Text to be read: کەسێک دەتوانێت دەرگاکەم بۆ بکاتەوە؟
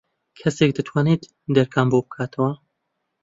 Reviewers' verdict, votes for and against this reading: rejected, 1, 2